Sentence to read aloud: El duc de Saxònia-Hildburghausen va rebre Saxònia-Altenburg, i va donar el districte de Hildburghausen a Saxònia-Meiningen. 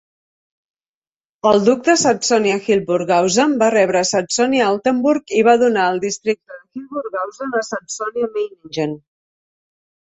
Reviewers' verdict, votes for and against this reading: rejected, 0, 2